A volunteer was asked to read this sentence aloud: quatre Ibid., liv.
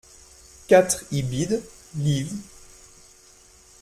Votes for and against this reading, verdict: 2, 0, accepted